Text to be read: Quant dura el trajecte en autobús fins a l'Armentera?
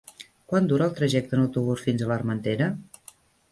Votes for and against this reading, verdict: 0, 2, rejected